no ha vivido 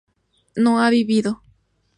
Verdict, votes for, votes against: accepted, 2, 0